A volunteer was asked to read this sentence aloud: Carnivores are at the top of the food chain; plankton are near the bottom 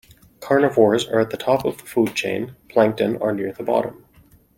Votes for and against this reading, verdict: 2, 0, accepted